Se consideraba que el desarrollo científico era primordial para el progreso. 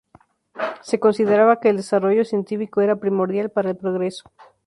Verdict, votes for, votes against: accepted, 2, 0